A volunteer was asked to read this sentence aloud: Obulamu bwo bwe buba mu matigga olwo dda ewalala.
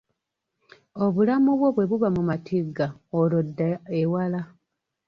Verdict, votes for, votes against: rejected, 0, 2